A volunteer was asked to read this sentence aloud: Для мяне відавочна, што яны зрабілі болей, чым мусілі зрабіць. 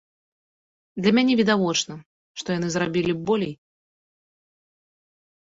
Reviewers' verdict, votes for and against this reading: rejected, 0, 2